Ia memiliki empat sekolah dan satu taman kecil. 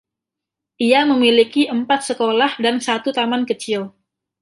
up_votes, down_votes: 2, 0